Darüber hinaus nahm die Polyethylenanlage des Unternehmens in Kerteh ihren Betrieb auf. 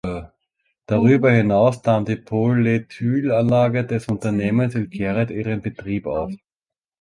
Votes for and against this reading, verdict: 0, 2, rejected